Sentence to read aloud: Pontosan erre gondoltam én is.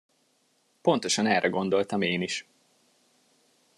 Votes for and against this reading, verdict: 2, 0, accepted